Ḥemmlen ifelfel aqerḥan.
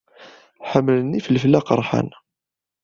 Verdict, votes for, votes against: accepted, 2, 0